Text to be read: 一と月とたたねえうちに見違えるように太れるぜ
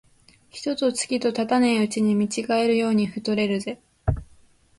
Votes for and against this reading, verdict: 0, 2, rejected